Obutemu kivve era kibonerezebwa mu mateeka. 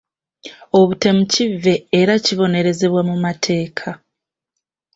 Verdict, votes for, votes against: accepted, 2, 0